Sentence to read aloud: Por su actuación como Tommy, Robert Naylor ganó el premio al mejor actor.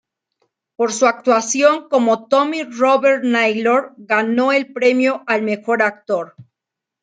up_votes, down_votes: 0, 2